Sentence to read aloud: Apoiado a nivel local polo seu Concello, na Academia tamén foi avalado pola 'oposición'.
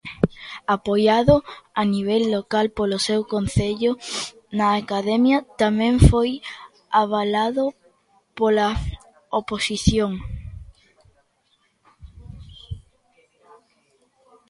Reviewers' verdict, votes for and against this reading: accepted, 2, 0